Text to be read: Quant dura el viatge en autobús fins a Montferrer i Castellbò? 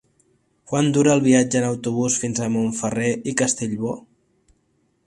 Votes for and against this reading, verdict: 3, 0, accepted